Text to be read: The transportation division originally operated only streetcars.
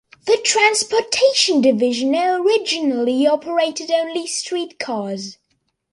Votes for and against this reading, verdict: 2, 0, accepted